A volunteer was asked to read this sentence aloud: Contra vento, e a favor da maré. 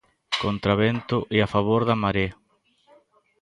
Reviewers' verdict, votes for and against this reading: accepted, 2, 0